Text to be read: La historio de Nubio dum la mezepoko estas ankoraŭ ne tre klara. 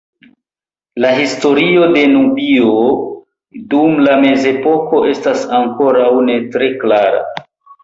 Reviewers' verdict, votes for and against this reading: accepted, 2, 0